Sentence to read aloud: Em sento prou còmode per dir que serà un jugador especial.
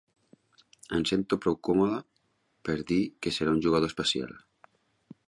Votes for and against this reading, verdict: 5, 0, accepted